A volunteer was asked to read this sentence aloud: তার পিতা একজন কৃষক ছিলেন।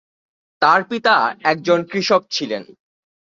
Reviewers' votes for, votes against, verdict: 15, 1, accepted